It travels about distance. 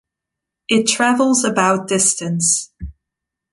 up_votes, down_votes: 2, 0